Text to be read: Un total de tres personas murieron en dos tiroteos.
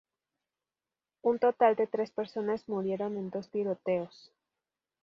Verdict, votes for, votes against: accepted, 2, 0